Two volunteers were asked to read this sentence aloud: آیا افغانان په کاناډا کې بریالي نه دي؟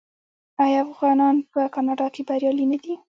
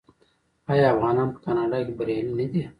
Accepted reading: first